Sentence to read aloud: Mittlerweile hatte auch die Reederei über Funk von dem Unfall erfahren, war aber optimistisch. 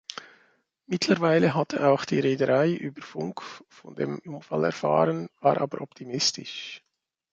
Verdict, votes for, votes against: rejected, 1, 2